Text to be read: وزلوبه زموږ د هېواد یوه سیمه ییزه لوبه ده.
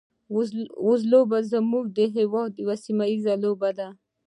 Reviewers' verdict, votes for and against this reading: accepted, 2, 0